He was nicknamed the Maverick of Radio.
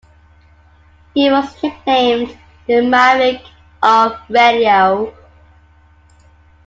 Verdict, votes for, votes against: rejected, 0, 2